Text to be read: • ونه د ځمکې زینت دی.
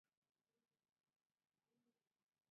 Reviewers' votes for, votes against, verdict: 1, 2, rejected